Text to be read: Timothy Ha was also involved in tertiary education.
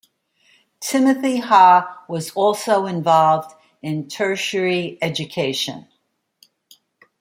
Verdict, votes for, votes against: accepted, 2, 0